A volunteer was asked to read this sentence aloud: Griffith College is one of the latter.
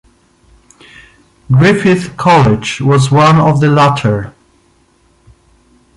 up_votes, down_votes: 0, 2